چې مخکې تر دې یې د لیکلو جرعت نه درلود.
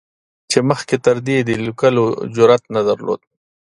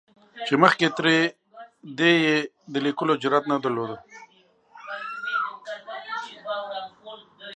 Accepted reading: first